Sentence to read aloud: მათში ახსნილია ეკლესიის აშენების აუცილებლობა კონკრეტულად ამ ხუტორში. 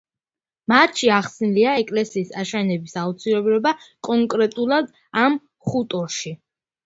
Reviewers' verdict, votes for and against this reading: accepted, 2, 1